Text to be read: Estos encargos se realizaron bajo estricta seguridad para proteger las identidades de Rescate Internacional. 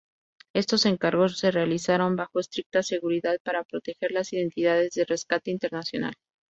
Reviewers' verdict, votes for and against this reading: accepted, 2, 0